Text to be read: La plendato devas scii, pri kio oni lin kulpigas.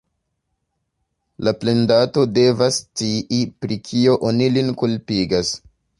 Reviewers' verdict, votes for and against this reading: accepted, 2, 1